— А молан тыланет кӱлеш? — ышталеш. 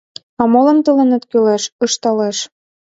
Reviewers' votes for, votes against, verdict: 2, 0, accepted